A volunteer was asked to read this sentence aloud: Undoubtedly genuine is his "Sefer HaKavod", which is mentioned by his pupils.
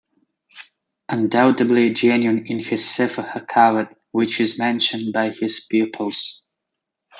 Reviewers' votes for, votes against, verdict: 2, 0, accepted